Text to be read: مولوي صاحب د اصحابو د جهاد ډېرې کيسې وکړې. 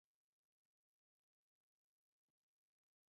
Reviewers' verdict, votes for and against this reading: rejected, 0, 4